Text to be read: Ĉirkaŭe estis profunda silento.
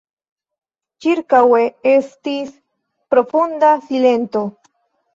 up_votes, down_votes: 1, 2